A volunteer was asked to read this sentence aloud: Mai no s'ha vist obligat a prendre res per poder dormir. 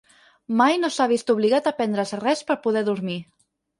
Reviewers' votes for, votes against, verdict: 2, 4, rejected